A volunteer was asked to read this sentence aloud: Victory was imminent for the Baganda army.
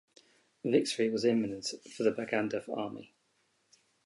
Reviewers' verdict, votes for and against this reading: rejected, 2, 2